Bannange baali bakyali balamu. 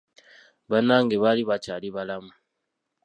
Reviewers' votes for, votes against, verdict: 1, 2, rejected